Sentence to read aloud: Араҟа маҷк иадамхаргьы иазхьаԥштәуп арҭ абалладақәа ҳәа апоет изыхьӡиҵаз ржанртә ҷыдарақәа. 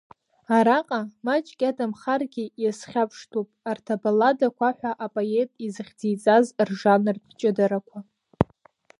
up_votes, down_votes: 2, 1